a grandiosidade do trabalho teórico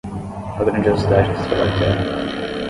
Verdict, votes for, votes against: rejected, 5, 10